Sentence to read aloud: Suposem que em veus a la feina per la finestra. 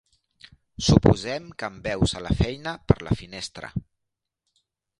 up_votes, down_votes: 2, 0